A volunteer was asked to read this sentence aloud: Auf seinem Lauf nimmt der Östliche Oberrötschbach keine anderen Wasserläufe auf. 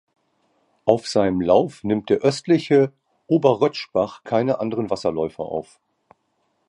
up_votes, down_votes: 2, 0